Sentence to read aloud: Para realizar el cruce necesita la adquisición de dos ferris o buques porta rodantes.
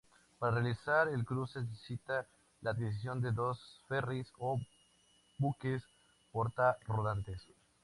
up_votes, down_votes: 2, 0